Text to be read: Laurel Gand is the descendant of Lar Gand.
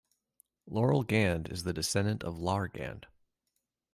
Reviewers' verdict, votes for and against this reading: accepted, 2, 0